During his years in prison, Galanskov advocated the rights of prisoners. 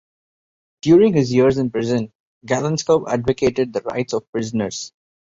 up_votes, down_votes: 2, 0